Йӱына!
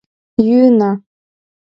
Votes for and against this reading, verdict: 2, 0, accepted